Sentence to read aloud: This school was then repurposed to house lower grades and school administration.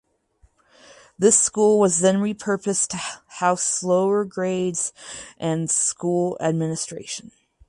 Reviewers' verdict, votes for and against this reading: rejected, 2, 2